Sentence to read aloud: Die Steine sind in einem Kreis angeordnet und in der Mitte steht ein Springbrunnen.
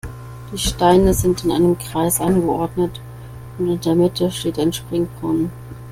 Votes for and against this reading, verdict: 2, 0, accepted